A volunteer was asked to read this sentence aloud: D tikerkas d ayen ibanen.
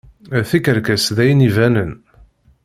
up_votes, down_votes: 2, 0